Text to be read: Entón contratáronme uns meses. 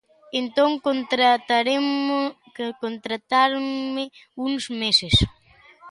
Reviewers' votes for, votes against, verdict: 0, 2, rejected